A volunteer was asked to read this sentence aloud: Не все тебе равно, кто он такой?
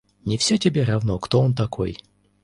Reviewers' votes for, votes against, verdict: 2, 1, accepted